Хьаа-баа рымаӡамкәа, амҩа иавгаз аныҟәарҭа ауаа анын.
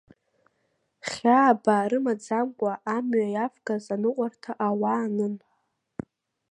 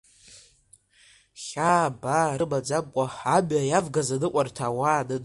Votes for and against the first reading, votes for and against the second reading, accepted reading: 2, 0, 0, 2, first